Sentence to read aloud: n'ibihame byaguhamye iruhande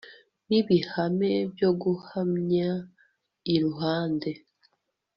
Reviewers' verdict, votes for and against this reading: rejected, 1, 2